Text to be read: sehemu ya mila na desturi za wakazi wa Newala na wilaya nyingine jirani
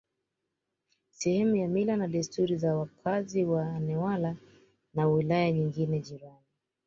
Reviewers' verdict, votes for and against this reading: accepted, 2, 1